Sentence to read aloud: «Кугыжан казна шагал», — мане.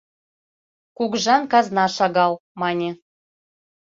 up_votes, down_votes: 2, 0